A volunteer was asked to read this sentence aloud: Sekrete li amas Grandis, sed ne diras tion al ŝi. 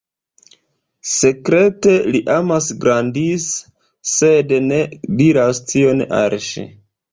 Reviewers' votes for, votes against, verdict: 2, 0, accepted